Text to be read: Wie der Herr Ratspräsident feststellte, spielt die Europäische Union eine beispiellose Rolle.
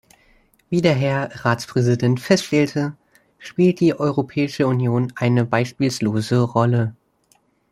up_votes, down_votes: 0, 2